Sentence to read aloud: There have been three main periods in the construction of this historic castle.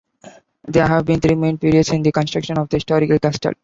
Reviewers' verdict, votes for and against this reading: rejected, 0, 2